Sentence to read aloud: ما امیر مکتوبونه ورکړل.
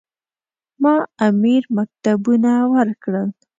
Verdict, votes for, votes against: rejected, 1, 2